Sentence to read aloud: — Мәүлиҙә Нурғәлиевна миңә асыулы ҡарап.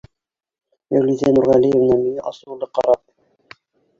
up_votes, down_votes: 0, 2